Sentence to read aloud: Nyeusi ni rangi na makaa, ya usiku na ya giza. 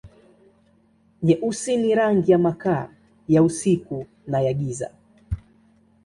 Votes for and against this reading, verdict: 1, 2, rejected